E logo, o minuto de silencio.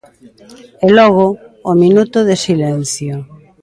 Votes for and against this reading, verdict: 2, 0, accepted